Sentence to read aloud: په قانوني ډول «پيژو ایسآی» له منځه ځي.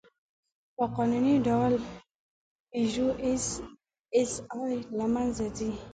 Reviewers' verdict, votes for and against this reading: rejected, 1, 2